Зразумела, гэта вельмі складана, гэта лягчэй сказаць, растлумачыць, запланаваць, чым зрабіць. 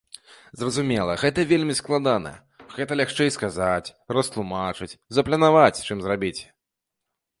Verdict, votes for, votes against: rejected, 0, 2